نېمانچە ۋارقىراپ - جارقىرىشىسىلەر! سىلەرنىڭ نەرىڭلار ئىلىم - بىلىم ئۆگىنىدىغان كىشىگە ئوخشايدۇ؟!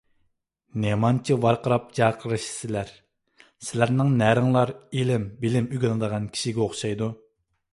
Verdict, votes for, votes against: accepted, 2, 0